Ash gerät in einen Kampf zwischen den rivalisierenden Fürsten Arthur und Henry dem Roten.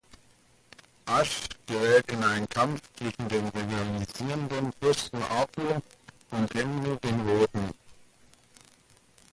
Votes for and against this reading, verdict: 1, 2, rejected